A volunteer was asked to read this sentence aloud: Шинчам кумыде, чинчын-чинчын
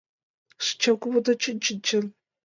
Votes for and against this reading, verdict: 0, 2, rejected